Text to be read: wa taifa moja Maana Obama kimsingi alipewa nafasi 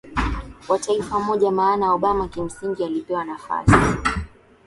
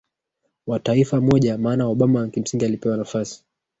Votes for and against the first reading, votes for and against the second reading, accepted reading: 2, 0, 1, 2, first